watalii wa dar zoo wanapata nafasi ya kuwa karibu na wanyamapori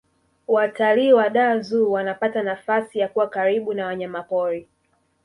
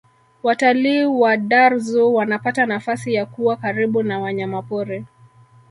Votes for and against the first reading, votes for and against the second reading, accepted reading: 1, 2, 2, 1, second